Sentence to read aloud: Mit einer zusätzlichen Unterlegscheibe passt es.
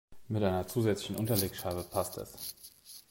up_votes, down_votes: 2, 0